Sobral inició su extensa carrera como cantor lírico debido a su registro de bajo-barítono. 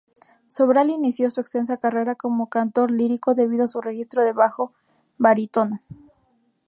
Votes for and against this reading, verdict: 2, 0, accepted